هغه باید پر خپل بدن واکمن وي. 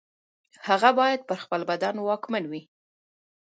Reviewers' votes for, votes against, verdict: 2, 1, accepted